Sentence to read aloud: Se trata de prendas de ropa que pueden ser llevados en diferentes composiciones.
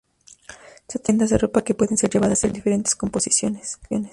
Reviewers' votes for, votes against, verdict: 0, 2, rejected